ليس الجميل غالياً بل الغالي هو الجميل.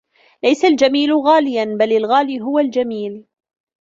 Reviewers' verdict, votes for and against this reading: accepted, 2, 1